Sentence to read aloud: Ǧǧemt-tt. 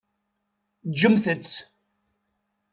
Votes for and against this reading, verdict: 4, 0, accepted